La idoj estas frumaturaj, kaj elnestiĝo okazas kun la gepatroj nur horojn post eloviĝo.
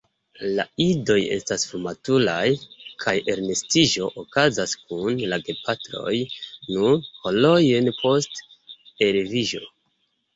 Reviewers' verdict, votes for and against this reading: rejected, 1, 3